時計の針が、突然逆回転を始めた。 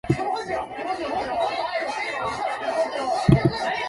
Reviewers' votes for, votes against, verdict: 0, 2, rejected